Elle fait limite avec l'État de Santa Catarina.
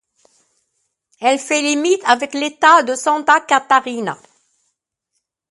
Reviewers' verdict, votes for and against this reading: accepted, 2, 0